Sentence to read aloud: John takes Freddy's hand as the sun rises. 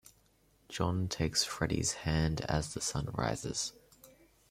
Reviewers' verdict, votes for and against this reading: rejected, 1, 2